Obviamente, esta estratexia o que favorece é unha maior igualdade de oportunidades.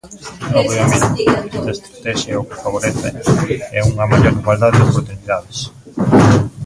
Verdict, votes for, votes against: rejected, 0, 2